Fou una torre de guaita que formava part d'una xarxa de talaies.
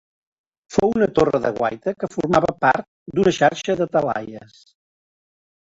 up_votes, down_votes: 1, 2